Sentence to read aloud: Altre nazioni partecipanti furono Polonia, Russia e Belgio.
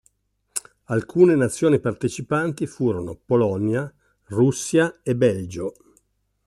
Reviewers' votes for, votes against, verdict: 1, 2, rejected